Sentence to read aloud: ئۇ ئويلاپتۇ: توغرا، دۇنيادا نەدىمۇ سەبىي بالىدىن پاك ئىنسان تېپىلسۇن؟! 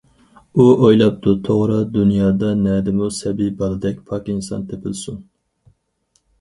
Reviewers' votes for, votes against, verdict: 2, 2, rejected